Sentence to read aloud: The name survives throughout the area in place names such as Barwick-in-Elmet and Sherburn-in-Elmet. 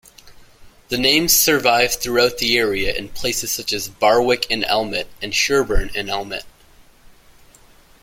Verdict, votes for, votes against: accepted, 2, 0